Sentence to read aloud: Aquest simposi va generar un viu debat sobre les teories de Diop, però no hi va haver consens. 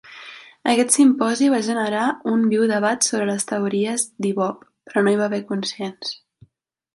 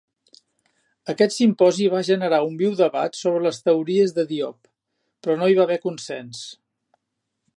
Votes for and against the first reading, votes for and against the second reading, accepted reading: 1, 2, 2, 0, second